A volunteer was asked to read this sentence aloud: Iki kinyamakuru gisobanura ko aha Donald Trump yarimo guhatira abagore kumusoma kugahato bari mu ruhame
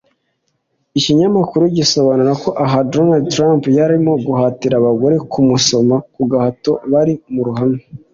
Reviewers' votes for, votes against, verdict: 2, 0, accepted